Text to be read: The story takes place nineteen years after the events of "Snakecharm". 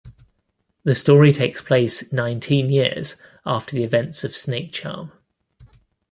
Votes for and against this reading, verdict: 2, 0, accepted